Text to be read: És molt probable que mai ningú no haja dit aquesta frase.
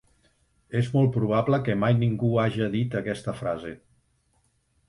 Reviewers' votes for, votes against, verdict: 0, 2, rejected